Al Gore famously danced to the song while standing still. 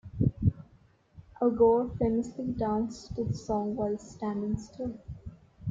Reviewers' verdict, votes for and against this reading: accepted, 2, 0